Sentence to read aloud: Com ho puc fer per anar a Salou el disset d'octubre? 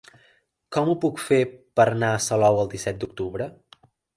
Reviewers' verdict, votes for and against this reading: rejected, 1, 2